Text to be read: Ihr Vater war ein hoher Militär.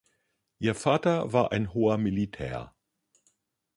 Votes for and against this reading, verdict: 2, 0, accepted